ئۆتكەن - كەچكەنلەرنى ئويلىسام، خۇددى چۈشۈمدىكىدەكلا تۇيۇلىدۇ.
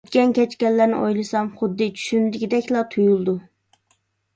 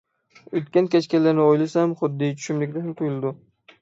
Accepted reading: first